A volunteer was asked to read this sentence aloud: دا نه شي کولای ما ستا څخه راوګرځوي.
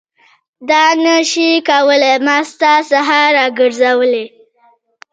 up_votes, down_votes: 1, 2